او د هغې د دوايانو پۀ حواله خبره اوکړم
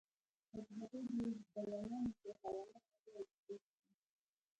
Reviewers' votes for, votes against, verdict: 2, 1, accepted